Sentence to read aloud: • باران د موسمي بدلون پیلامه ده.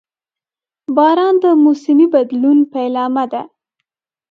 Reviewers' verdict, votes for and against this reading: accepted, 2, 0